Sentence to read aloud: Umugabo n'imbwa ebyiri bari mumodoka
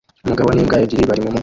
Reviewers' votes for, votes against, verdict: 0, 2, rejected